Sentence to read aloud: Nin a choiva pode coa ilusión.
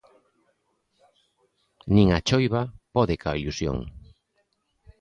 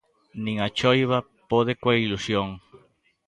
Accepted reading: second